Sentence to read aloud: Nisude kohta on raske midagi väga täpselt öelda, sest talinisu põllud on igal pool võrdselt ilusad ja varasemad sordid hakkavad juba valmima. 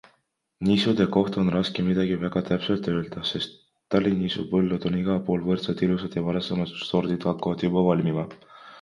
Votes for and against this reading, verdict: 2, 1, accepted